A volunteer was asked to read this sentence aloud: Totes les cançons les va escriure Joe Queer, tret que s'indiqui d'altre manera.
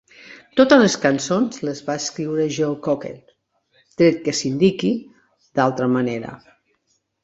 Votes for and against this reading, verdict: 0, 2, rejected